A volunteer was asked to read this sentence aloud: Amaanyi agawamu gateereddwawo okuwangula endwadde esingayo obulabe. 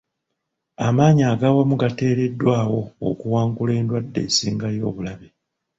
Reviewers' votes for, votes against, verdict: 1, 2, rejected